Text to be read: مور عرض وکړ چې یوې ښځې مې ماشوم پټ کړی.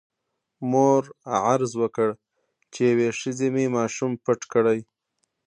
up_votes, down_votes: 0, 2